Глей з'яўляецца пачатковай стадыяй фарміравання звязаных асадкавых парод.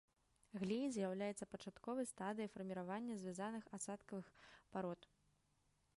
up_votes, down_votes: 1, 2